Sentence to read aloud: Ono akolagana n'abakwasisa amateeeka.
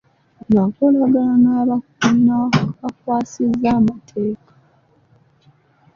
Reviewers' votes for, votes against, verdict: 1, 2, rejected